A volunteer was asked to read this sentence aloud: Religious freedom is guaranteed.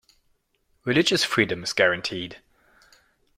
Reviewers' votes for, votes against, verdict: 2, 0, accepted